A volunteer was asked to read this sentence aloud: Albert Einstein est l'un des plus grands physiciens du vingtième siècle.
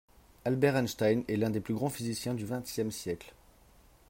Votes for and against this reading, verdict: 1, 2, rejected